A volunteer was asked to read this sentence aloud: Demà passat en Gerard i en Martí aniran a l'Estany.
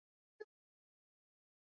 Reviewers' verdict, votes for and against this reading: rejected, 1, 3